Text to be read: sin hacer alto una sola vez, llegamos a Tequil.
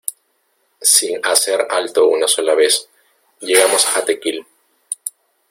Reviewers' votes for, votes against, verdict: 1, 2, rejected